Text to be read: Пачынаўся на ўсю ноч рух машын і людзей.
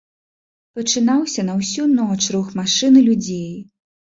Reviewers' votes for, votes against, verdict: 2, 0, accepted